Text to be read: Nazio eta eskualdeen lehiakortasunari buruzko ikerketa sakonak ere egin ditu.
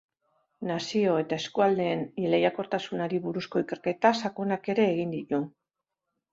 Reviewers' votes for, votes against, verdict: 1, 5, rejected